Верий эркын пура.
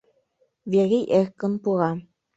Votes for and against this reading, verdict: 0, 2, rejected